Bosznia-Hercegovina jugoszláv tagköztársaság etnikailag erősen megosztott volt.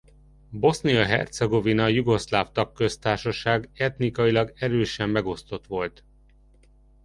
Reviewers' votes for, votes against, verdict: 2, 0, accepted